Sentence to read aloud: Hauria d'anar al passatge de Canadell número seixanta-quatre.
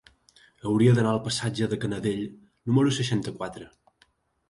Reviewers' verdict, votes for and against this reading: accepted, 3, 0